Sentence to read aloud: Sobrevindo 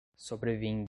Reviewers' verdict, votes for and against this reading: accepted, 2, 1